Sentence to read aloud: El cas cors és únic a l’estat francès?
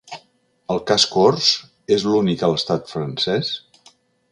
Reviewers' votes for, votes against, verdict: 1, 2, rejected